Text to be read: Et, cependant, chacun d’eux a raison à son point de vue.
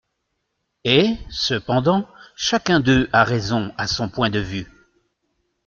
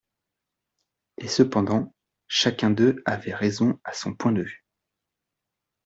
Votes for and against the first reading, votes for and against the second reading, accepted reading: 2, 0, 0, 2, first